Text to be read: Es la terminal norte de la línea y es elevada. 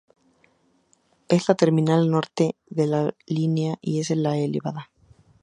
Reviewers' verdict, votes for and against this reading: rejected, 0, 2